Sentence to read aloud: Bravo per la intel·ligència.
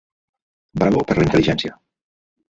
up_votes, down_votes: 2, 0